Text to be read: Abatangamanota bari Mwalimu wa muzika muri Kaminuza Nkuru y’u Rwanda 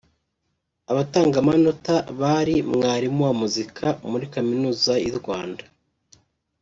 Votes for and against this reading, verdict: 0, 3, rejected